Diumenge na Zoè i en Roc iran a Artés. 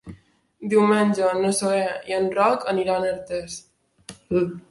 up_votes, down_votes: 1, 3